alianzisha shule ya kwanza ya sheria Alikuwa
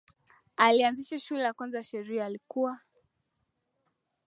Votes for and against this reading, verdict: 2, 0, accepted